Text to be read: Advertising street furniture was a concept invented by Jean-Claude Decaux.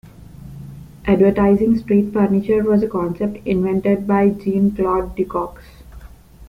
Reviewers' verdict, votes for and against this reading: rejected, 1, 2